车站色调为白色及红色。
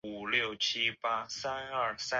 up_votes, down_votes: 0, 4